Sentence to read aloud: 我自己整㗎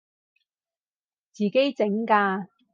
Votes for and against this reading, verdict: 0, 4, rejected